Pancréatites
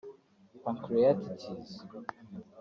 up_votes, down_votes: 0, 2